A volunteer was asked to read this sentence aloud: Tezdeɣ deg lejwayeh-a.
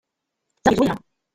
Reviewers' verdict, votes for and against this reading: rejected, 0, 2